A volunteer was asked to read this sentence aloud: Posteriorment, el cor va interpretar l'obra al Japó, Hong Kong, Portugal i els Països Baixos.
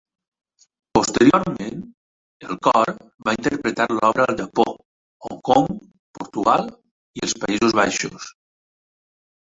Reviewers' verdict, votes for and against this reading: rejected, 1, 2